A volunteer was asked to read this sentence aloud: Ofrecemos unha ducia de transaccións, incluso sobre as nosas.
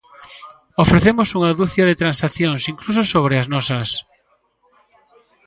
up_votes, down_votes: 2, 0